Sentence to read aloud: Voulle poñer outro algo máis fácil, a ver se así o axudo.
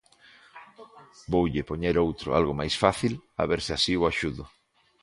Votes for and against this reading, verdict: 2, 1, accepted